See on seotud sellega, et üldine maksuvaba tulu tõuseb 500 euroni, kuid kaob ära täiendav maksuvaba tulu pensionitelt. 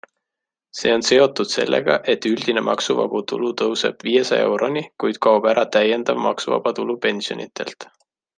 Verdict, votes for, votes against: rejected, 0, 2